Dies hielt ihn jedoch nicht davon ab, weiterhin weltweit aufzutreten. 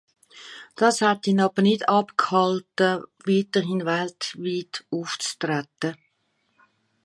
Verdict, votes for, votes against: rejected, 0, 2